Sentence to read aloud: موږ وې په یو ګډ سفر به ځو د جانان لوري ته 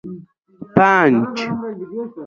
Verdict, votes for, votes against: rejected, 1, 2